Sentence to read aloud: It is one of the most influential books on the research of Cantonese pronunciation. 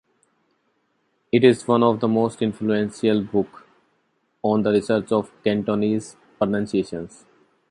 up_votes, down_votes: 0, 2